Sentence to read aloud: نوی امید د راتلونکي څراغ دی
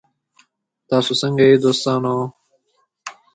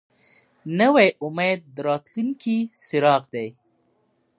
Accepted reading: second